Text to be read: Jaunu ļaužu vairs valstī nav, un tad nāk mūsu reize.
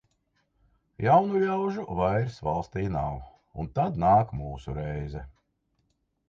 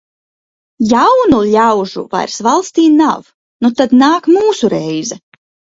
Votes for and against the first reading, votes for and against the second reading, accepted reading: 2, 0, 0, 4, first